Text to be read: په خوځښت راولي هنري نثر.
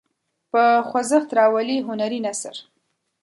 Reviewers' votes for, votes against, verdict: 2, 0, accepted